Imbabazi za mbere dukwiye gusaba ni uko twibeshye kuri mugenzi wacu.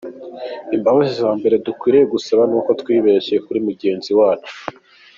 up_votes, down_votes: 2, 1